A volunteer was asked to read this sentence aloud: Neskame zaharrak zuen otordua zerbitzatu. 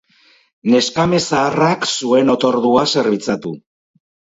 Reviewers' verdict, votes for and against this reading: accepted, 4, 0